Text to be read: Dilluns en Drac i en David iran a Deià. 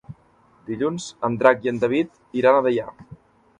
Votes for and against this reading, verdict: 3, 0, accepted